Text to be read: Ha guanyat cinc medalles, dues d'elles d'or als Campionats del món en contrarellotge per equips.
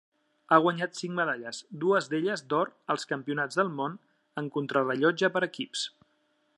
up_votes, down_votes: 3, 0